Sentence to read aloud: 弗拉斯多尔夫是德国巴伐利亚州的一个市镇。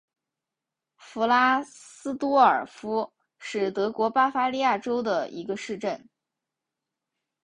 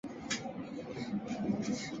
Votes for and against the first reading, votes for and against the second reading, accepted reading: 2, 1, 0, 2, first